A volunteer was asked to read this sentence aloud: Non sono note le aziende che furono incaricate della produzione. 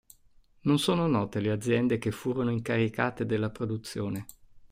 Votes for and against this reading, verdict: 2, 0, accepted